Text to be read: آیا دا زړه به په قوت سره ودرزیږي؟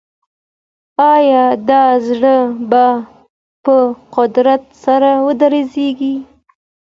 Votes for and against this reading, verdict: 2, 0, accepted